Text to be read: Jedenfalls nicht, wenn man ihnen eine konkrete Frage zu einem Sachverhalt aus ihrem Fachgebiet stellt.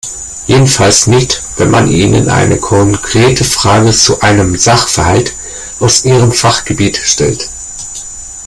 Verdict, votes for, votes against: rejected, 1, 2